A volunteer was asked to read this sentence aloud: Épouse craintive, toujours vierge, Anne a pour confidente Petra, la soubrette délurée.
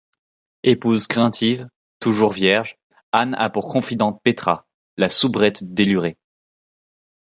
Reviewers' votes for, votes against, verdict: 2, 0, accepted